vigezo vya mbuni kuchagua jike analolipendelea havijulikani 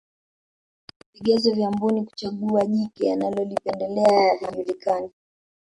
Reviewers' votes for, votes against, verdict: 3, 2, accepted